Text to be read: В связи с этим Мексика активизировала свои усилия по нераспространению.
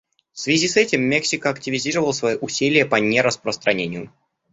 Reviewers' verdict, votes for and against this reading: accepted, 2, 0